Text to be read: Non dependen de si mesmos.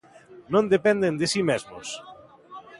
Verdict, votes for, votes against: accepted, 2, 0